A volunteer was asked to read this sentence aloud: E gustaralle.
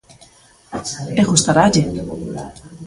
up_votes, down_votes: 0, 2